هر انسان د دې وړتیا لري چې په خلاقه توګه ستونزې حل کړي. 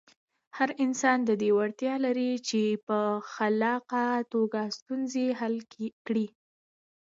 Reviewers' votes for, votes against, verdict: 2, 0, accepted